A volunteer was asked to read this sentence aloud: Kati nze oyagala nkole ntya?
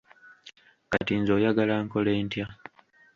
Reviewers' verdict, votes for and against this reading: rejected, 1, 2